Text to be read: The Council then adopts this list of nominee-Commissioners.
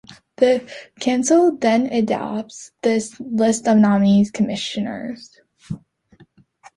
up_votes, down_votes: 1, 2